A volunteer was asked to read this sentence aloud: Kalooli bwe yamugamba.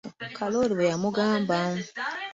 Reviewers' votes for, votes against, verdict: 1, 2, rejected